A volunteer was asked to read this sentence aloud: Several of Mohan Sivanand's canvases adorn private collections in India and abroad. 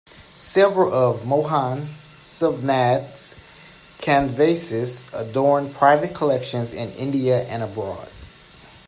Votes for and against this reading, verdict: 1, 2, rejected